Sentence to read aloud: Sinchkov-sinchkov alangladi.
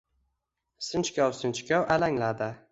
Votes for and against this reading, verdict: 2, 0, accepted